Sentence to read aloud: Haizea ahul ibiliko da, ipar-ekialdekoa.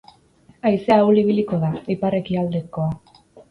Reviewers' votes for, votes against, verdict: 8, 0, accepted